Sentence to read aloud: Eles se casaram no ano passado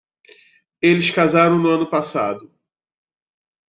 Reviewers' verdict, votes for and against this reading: rejected, 0, 2